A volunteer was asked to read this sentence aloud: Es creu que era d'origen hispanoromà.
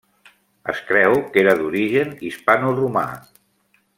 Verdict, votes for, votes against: accepted, 2, 0